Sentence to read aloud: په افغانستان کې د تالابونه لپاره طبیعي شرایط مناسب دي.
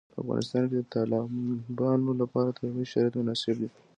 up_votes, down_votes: 2, 0